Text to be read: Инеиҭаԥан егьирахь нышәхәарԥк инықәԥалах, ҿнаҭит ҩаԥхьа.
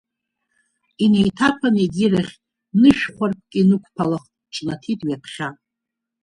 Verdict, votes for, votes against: accepted, 2, 0